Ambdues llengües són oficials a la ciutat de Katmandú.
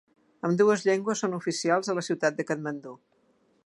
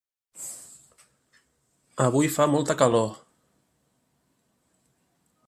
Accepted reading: first